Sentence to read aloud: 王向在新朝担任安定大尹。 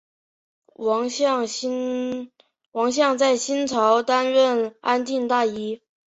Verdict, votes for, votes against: accepted, 3, 1